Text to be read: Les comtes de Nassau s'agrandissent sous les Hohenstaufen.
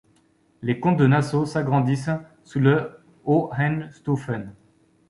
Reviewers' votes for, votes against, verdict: 2, 3, rejected